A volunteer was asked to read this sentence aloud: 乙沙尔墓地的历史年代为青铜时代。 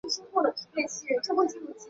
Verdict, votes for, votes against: rejected, 0, 3